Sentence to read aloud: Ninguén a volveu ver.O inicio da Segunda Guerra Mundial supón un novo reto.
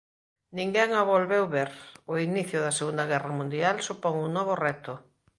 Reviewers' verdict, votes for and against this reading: accepted, 2, 0